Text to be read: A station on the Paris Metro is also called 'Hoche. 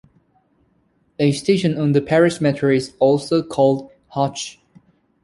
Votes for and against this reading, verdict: 2, 0, accepted